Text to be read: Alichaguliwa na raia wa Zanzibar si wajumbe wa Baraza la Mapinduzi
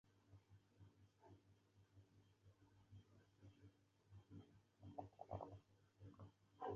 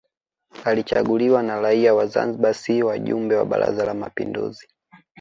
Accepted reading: second